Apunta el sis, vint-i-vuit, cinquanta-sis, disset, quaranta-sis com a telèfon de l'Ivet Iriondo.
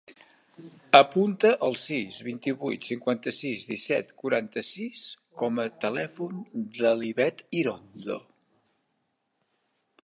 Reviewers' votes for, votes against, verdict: 0, 2, rejected